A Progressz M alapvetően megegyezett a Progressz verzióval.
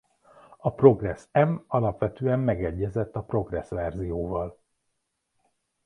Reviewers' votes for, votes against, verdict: 2, 0, accepted